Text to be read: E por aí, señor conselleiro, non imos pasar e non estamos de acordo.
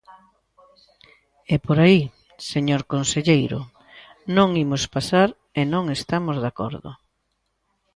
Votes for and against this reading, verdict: 2, 0, accepted